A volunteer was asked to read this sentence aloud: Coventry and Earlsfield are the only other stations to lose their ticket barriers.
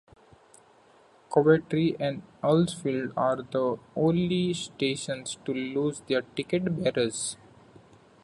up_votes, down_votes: 0, 2